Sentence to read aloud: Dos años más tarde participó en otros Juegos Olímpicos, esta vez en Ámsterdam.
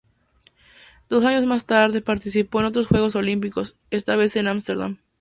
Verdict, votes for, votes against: accepted, 4, 0